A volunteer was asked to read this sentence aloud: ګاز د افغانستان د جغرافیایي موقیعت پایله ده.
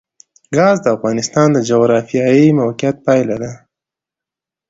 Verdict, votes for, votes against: accepted, 2, 0